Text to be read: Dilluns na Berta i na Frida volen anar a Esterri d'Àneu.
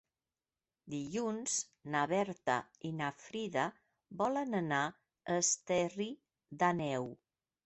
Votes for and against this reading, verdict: 0, 2, rejected